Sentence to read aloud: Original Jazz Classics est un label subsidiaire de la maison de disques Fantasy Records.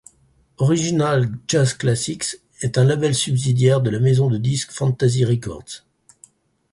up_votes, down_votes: 4, 0